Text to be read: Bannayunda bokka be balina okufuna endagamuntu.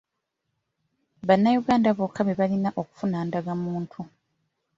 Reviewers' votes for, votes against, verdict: 1, 2, rejected